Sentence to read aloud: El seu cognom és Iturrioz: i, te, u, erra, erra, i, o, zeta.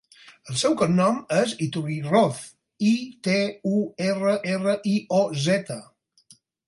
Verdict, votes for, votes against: rejected, 0, 4